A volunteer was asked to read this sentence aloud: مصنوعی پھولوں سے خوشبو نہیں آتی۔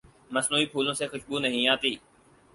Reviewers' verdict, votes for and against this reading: accepted, 4, 0